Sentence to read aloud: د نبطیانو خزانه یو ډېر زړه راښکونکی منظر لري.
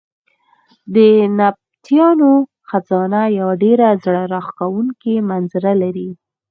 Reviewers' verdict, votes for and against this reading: accepted, 4, 2